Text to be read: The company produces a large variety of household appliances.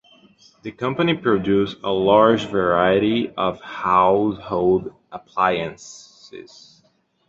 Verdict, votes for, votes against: rejected, 1, 2